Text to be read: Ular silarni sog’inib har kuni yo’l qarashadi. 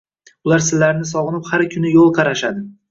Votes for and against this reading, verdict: 2, 0, accepted